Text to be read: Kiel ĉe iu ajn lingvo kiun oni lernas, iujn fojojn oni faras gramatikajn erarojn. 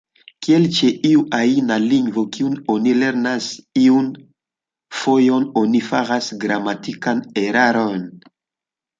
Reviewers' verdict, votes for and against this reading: rejected, 0, 2